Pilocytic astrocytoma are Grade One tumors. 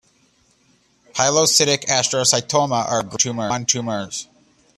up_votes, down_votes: 1, 2